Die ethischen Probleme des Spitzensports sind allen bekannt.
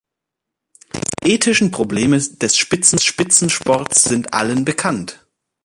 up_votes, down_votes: 0, 2